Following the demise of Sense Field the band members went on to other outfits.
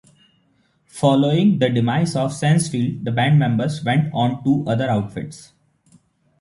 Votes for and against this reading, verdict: 2, 0, accepted